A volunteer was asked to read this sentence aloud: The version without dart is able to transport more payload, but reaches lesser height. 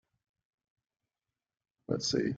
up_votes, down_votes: 0, 2